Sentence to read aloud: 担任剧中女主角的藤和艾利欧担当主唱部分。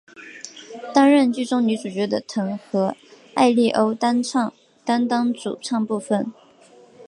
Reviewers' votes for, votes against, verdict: 1, 2, rejected